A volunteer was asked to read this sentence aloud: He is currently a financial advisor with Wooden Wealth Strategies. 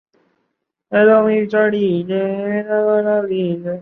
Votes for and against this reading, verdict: 0, 2, rejected